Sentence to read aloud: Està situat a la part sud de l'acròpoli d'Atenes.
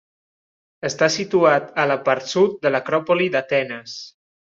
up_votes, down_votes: 3, 0